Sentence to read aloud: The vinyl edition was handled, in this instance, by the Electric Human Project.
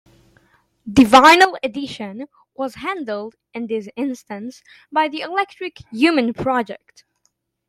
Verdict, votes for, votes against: accepted, 2, 0